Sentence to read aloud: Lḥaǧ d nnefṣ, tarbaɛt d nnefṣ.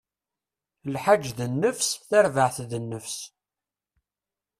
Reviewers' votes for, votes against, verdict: 0, 2, rejected